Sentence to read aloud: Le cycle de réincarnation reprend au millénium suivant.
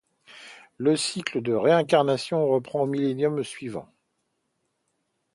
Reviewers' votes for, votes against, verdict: 2, 0, accepted